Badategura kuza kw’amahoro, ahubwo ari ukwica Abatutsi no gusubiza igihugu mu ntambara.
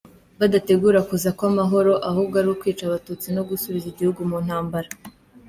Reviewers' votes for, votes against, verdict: 2, 0, accepted